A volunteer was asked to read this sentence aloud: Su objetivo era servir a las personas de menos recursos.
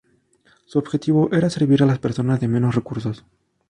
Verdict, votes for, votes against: rejected, 0, 2